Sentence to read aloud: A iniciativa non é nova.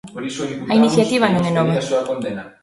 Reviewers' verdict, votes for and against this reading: rejected, 0, 3